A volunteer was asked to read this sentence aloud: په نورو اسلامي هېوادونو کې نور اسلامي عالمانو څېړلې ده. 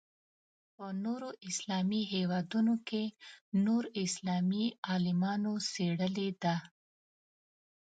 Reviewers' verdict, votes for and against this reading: accepted, 2, 0